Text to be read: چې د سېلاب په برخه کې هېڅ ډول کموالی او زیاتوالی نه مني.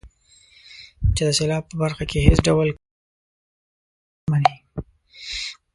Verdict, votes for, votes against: rejected, 0, 2